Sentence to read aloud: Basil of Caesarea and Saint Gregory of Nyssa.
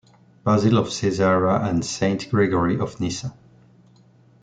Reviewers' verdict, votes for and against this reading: rejected, 0, 2